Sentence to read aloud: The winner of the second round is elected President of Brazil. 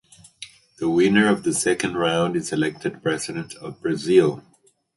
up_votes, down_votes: 4, 0